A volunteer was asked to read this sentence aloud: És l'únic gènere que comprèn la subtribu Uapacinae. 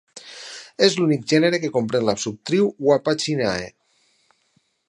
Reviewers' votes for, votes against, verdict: 4, 0, accepted